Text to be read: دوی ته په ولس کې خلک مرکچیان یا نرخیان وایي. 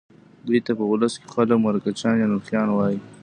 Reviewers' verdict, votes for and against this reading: rejected, 0, 2